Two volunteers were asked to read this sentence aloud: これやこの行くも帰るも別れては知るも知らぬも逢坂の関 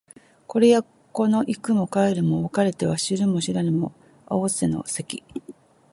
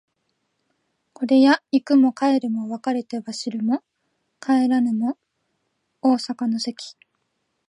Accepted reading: second